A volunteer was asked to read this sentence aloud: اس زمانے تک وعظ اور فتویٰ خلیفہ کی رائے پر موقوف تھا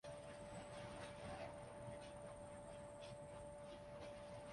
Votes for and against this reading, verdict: 0, 2, rejected